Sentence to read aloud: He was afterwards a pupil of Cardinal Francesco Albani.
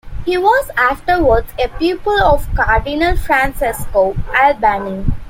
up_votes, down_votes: 2, 0